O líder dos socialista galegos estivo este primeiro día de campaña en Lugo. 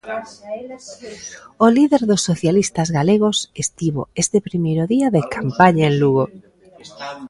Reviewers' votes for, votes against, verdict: 0, 2, rejected